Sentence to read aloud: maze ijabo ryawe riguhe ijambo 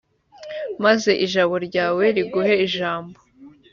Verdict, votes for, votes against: accepted, 2, 0